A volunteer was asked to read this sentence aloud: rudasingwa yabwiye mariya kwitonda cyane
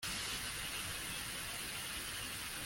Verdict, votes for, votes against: rejected, 0, 2